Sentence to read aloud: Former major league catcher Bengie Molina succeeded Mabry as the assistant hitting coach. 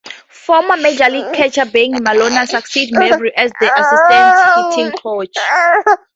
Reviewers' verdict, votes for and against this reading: accepted, 2, 0